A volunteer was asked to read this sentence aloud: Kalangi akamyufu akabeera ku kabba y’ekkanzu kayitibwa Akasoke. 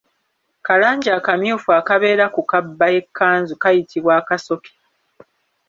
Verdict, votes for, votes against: accepted, 2, 0